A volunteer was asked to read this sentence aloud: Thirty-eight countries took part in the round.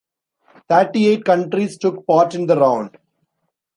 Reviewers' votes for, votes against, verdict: 2, 0, accepted